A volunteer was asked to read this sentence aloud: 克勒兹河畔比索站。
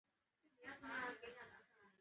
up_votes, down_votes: 0, 2